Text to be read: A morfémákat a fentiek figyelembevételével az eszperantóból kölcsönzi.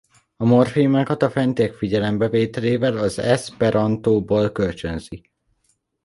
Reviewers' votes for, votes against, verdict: 1, 2, rejected